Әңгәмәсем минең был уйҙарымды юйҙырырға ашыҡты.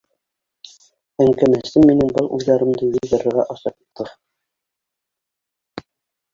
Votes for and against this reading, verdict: 0, 2, rejected